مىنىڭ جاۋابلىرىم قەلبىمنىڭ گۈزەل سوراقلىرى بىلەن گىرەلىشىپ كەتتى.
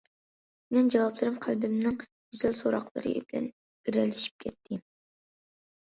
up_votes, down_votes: 2, 0